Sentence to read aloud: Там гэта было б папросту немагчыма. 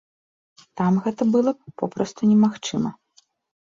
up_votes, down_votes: 1, 2